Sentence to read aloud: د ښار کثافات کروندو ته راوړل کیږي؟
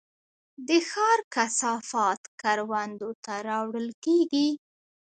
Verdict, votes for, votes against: rejected, 1, 2